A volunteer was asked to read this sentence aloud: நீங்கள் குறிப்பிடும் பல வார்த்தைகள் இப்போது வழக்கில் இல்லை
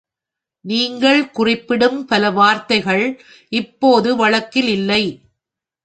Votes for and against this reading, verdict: 2, 1, accepted